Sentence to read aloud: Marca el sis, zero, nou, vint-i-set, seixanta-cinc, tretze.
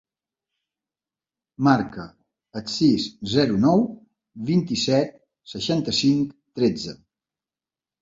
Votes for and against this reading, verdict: 3, 1, accepted